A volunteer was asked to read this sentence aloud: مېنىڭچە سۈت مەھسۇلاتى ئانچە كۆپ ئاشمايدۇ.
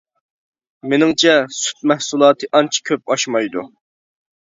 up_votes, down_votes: 2, 0